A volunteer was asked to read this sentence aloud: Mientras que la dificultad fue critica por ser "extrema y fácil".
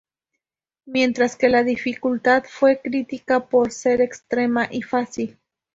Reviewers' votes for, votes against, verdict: 2, 0, accepted